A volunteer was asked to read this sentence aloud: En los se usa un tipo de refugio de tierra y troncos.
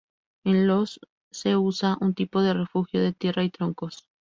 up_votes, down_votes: 0, 2